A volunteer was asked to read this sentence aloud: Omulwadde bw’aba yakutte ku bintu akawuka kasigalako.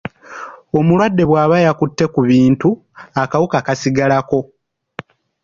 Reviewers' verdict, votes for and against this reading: rejected, 1, 2